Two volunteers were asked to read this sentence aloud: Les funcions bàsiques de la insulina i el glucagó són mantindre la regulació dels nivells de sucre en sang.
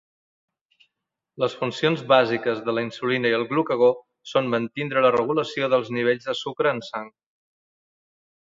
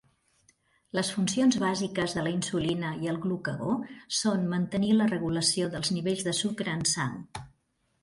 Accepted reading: first